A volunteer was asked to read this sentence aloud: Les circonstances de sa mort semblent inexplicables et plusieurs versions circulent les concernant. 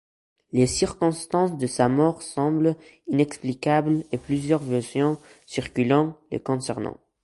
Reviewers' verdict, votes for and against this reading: rejected, 0, 2